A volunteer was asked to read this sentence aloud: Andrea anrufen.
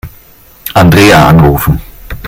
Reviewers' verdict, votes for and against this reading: accepted, 2, 0